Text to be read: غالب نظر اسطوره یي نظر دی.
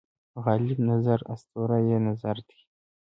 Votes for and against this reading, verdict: 2, 0, accepted